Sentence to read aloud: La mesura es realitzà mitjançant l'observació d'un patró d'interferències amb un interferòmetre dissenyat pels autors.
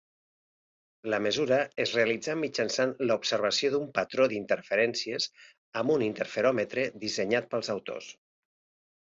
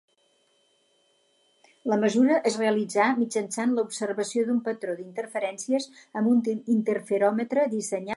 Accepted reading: first